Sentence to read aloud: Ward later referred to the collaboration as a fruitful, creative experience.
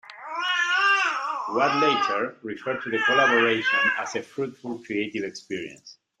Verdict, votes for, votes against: rejected, 0, 2